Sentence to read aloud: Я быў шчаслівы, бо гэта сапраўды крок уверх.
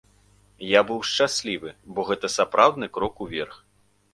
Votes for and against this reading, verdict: 0, 2, rejected